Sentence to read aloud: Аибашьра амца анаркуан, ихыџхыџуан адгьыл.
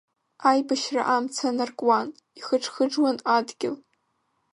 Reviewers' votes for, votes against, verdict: 2, 0, accepted